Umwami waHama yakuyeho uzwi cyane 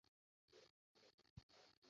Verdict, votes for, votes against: rejected, 0, 2